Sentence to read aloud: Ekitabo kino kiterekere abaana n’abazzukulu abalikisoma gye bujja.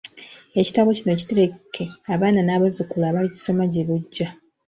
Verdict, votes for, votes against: accepted, 2, 1